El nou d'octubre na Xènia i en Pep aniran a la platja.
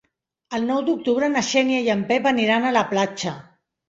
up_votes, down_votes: 3, 0